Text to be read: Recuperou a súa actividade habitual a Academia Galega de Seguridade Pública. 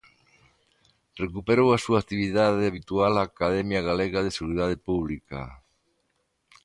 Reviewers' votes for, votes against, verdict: 3, 1, accepted